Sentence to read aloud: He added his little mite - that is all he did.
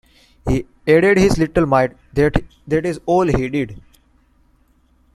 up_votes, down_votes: 2, 1